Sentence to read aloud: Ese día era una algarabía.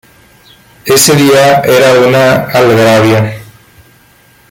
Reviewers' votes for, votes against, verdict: 2, 1, accepted